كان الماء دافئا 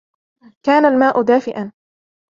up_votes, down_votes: 2, 1